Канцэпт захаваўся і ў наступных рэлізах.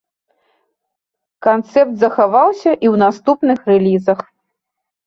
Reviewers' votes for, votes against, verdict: 2, 0, accepted